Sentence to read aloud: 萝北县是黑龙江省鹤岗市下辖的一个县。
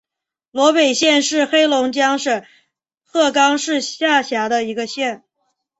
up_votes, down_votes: 2, 0